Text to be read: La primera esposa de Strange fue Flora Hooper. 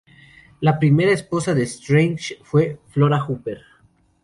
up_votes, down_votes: 4, 0